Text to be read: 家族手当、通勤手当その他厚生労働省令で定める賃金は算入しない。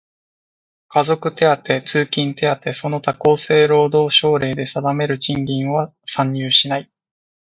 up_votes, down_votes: 2, 0